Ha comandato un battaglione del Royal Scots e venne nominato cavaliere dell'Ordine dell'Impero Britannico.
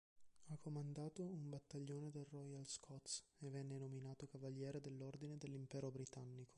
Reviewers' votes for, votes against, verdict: 1, 2, rejected